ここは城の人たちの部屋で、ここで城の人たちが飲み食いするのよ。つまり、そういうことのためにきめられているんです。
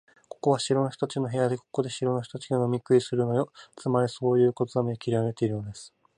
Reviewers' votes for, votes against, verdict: 0, 2, rejected